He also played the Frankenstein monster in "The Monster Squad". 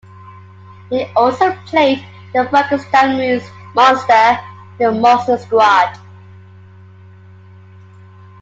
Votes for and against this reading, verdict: 0, 2, rejected